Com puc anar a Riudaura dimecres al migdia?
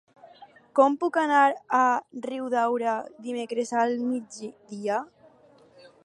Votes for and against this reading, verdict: 0, 4, rejected